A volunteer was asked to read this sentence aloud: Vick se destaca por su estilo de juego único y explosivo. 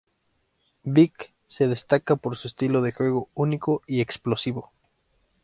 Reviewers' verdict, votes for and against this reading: accepted, 2, 0